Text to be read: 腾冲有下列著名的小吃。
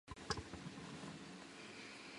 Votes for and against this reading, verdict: 0, 3, rejected